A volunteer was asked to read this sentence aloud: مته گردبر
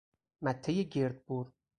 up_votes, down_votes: 4, 0